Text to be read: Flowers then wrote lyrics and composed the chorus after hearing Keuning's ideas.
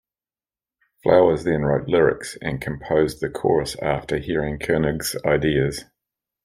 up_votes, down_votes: 1, 2